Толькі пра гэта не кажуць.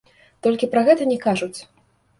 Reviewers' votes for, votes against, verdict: 2, 0, accepted